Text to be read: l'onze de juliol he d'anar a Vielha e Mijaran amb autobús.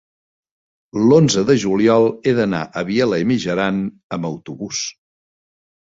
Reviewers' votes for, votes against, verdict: 1, 2, rejected